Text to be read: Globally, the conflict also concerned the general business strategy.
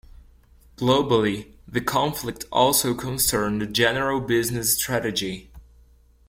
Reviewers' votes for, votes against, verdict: 2, 0, accepted